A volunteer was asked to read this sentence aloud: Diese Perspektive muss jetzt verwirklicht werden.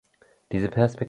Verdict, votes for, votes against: rejected, 0, 2